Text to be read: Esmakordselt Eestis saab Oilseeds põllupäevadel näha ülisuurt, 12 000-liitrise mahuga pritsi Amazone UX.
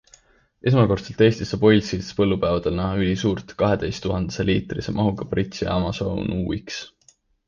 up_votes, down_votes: 0, 2